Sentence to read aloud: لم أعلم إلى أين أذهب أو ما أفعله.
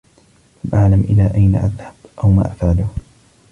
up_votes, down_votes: 2, 1